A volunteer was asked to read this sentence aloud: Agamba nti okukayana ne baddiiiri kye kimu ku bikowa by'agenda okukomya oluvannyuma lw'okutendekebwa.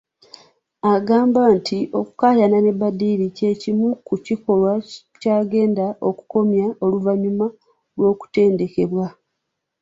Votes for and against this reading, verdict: 1, 2, rejected